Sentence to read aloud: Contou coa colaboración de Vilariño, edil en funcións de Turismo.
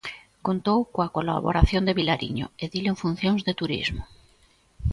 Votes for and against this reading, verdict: 2, 0, accepted